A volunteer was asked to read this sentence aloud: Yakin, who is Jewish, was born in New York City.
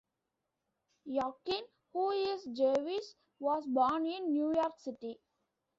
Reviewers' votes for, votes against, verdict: 1, 2, rejected